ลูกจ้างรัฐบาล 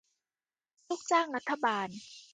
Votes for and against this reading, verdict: 2, 0, accepted